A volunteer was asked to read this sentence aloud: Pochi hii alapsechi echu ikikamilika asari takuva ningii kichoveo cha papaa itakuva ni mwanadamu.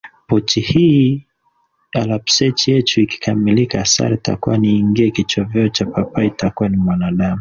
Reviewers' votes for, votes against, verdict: 2, 0, accepted